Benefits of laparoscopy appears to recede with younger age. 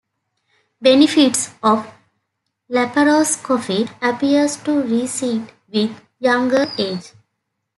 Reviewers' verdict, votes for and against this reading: accepted, 2, 1